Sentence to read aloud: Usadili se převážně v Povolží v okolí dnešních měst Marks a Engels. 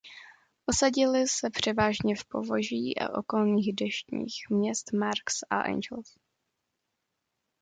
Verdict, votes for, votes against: rejected, 0, 2